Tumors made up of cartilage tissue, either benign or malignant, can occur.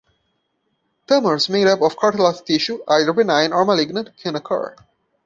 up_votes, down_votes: 1, 2